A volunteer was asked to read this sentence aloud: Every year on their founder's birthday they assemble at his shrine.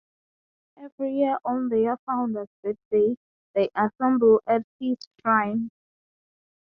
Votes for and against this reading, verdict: 3, 0, accepted